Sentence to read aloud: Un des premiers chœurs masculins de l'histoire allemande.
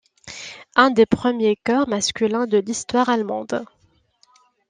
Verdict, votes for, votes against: accepted, 2, 0